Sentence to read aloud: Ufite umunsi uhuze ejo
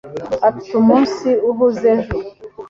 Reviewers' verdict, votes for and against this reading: accepted, 2, 1